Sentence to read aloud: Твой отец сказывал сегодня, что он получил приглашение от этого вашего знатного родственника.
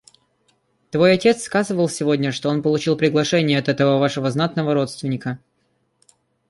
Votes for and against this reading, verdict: 2, 1, accepted